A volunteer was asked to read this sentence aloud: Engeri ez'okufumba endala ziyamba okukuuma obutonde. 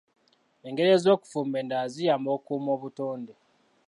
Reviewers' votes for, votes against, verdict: 0, 2, rejected